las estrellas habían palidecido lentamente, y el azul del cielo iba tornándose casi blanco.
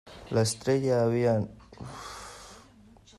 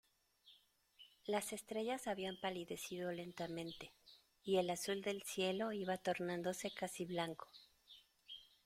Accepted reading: second